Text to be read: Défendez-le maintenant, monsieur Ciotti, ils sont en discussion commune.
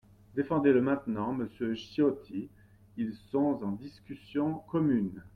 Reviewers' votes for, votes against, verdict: 1, 2, rejected